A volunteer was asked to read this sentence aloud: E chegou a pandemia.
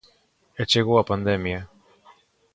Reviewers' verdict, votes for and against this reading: accepted, 2, 0